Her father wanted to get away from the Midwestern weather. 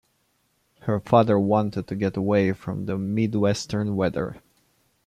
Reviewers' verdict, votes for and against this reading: accepted, 2, 0